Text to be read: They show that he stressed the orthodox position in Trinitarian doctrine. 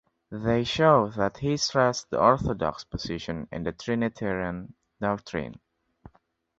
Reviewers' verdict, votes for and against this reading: accepted, 2, 1